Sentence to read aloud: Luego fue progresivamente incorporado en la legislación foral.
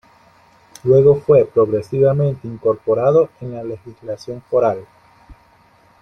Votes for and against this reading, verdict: 2, 1, accepted